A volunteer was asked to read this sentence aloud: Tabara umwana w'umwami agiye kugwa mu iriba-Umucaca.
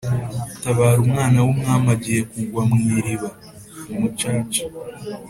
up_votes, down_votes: 2, 0